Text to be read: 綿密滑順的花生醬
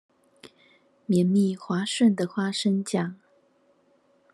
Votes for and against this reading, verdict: 2, 0, accepted